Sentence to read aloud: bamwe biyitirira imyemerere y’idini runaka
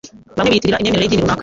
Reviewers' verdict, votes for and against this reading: rejected, 0, 2